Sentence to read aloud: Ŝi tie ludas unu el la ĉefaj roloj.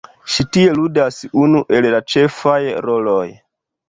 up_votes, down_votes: 1, 2